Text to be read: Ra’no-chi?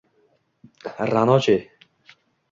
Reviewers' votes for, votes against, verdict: 2, 0, accepted